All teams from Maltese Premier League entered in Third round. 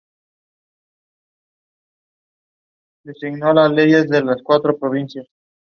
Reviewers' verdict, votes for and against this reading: rejected, 1, 2